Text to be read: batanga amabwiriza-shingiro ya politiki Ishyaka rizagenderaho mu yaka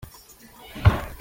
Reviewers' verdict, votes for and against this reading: rejected, 0, 2